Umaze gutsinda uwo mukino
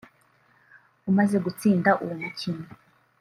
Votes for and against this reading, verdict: 0, 2, rejected